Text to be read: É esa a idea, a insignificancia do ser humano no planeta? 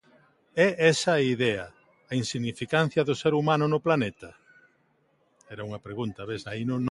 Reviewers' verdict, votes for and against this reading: rejected, 0, 3